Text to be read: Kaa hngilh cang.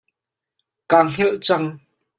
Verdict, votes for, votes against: rejected, 0, 2